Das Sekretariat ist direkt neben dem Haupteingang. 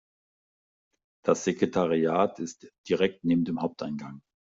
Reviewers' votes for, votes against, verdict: 0, 2, rejected